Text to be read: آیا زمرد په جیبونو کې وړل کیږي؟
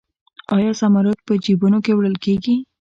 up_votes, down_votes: 2, 0